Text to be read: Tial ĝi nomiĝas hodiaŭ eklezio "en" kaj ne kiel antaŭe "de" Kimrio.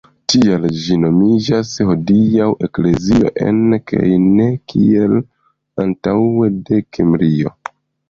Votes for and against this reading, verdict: 1, 2, rejected